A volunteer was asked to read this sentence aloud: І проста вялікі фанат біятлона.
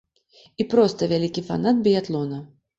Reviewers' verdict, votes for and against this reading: accepted, 2, 0